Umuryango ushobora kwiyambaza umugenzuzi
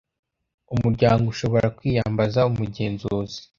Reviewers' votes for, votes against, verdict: 2, 0, accepted